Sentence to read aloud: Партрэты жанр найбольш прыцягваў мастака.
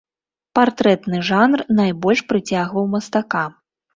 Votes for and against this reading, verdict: 0, 2, rejected